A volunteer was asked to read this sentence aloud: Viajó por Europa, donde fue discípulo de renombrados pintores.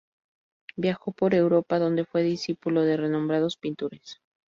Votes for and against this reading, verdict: 2, 2, rejected